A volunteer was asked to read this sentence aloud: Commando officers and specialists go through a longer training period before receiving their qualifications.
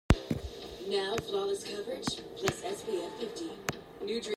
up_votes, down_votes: 0, 2